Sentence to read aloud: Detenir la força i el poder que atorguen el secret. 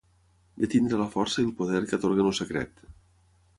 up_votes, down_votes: 0, 6